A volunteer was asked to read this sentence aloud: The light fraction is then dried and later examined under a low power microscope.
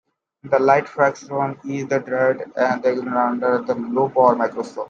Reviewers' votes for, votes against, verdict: 0, 2, rejected